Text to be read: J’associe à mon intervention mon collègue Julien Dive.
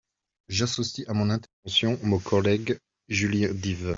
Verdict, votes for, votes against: rejected, 1, 2